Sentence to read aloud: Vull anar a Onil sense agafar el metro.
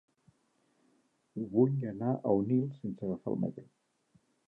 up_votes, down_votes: 0, 2